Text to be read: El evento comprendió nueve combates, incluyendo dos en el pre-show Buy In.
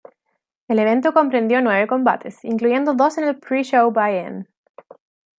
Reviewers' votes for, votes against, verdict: 2, 0, accepted